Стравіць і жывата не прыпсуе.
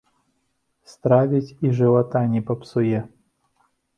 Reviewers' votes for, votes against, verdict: 0, 2, rejected